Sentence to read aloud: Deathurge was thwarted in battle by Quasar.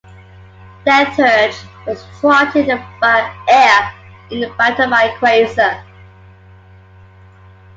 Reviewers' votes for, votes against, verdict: 0, 2, rejected